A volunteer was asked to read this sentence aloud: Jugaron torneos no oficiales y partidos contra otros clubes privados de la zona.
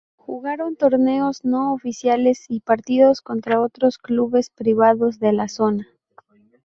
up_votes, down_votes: 0, 4